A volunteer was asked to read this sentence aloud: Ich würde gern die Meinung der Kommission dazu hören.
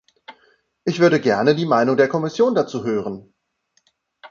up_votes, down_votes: 0, 2